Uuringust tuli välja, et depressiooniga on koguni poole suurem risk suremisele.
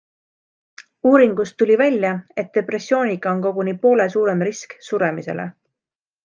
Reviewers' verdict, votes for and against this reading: accepted, 2, 0